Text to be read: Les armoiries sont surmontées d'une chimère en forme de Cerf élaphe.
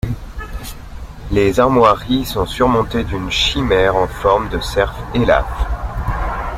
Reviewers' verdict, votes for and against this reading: rejected, 0, 2